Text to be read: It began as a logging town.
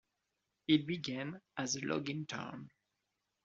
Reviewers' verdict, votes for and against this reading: accepted, 2, 0